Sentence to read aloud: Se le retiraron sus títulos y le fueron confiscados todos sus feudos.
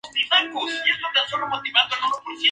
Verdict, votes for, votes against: rejected, 0, 4